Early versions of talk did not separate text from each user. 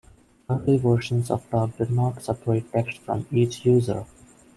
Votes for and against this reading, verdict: 2, 0, accepted